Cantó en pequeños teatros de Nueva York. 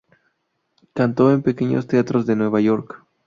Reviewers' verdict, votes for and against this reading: accepted, 2, 0